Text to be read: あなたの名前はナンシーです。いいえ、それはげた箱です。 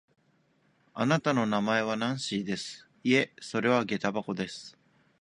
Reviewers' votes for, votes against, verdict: 2, 0, accepted